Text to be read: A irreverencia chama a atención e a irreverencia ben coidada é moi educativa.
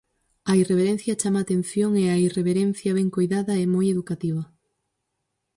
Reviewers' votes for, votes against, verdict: 4, 0, accepted